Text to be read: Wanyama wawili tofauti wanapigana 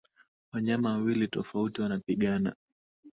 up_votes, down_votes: 3, 0